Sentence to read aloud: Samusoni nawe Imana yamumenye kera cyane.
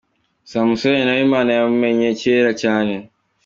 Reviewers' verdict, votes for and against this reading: accepted, 2, 0